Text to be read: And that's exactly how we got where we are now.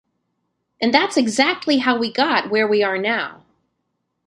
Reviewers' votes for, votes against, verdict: 1, 2, rejected